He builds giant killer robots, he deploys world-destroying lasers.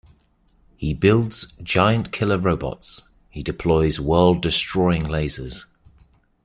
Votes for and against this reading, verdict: 3, 0, accepted